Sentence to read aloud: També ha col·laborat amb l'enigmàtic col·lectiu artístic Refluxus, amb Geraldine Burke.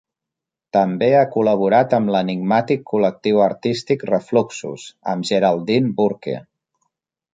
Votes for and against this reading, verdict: 2, 0, accepted